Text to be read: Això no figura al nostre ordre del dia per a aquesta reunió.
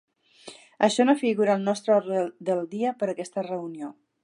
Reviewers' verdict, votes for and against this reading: rejected, 1, 3